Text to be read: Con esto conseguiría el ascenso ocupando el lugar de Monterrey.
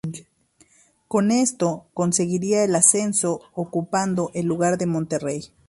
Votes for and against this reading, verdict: 2, 0, accepted